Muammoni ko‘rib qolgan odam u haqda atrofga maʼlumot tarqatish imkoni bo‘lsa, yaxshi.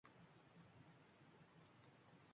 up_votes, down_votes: 0, 2